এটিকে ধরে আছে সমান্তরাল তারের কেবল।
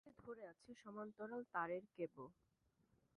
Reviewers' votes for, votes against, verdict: 1, 2, rejected